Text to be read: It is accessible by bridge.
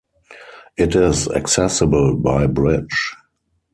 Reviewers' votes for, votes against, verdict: 2, 0, accepted